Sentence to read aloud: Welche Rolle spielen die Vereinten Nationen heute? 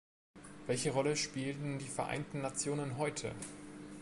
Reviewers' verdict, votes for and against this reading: rejected, 1, 2